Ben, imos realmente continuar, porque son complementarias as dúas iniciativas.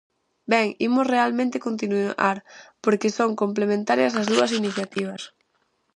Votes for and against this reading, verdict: 0, 4, rejected